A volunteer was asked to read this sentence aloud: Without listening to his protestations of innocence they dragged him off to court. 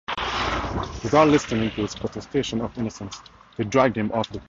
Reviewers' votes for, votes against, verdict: 0, 4, rejected